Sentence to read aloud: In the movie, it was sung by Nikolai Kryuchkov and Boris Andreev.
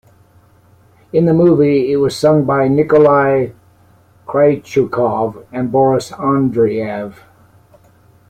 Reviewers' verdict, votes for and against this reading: rejected, 1, 2